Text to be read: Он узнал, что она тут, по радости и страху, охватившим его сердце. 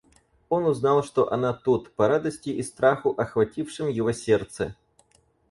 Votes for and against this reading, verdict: 4, 0, accepted